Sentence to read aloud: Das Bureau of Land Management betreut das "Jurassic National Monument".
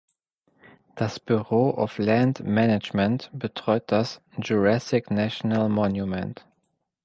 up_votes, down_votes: 2, 0